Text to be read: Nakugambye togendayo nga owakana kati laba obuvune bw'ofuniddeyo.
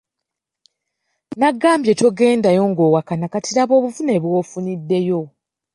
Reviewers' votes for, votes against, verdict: 2, 0, accepted